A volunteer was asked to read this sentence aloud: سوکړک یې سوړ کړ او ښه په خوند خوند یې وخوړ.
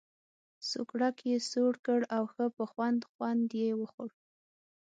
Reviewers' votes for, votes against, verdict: 6, 0, accepted